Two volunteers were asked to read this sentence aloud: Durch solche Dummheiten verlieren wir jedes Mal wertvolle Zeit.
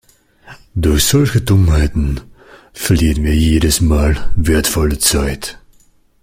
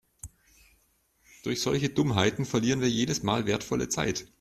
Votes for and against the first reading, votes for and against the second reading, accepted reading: 0, 2, 2, 0, second